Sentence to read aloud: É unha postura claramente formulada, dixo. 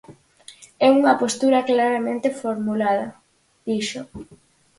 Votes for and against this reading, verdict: 4, 0, accepted